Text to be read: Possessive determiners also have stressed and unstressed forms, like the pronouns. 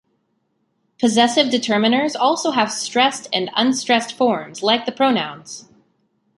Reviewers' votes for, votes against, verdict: 2, 0, accepted